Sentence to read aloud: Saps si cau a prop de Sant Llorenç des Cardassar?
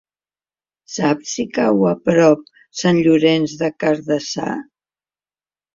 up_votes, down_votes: 0, 2